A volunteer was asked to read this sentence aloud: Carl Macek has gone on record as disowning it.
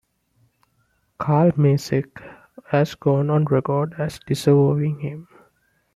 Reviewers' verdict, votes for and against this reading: rejected, 0, 2